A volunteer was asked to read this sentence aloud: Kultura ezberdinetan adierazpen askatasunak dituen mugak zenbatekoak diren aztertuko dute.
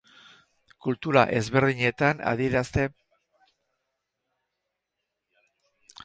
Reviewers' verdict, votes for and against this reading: rejected, 0, 6